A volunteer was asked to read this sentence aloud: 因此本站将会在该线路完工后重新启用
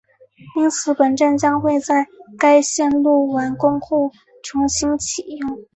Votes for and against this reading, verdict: 4, 1, accepted